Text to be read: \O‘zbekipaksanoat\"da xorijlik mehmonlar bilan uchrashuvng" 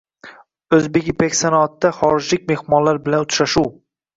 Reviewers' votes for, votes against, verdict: 2, 1, accepted